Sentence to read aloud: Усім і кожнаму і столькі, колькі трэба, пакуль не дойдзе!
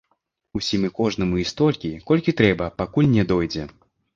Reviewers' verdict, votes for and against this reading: accepted, 2, 0